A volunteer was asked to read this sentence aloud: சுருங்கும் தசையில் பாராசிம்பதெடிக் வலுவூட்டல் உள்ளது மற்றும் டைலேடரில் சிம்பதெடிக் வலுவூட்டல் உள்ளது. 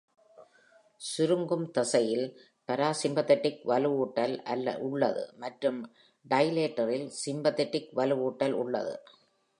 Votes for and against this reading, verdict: 0, 2, rejected